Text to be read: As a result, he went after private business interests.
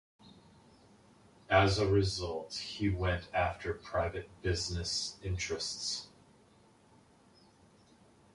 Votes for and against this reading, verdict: 2, 0, accepted